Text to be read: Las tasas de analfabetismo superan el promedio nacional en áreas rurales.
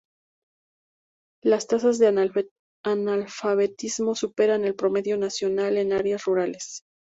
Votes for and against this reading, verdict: 2, 0, accepted